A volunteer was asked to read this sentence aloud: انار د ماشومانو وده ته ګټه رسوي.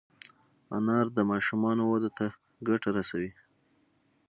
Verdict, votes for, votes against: rejected, 0, 3